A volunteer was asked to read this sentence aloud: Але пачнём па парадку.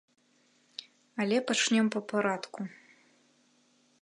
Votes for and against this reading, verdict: 2, 0, accepted